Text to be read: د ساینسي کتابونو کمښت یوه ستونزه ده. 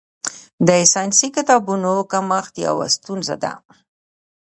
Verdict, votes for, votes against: accepted, 3, 1